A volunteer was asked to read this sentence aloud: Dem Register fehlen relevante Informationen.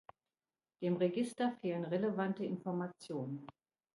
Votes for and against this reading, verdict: 2, 0, accepted